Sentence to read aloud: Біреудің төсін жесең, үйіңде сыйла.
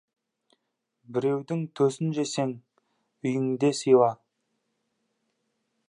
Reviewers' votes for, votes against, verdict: 2, 0, accepted